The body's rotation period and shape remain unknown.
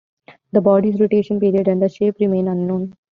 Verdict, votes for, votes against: rejected, 1, 2